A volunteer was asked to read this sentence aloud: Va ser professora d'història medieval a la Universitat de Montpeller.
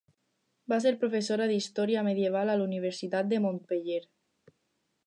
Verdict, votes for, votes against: accepted, 4, 0